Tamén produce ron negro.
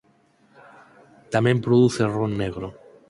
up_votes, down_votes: 6, 0